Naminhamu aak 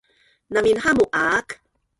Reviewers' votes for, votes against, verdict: 1, 2, rejected